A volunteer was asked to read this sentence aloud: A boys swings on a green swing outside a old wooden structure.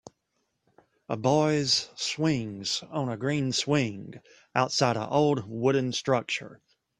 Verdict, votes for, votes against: accepted, 2, 0